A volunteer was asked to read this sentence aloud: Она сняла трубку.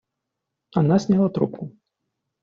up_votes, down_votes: 1, 2